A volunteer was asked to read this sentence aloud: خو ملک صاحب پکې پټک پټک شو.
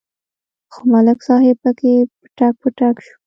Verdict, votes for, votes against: rejected, 0, 2